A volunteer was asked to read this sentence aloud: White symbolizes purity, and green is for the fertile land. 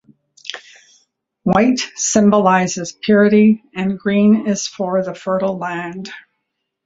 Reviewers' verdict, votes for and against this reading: accepted, 2, 0